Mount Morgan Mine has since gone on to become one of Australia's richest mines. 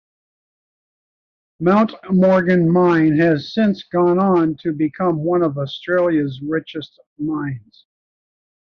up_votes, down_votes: 2, 1